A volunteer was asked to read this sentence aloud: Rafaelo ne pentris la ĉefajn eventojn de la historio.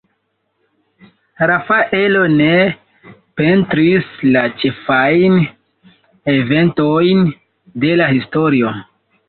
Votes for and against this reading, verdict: 0, 2, rejected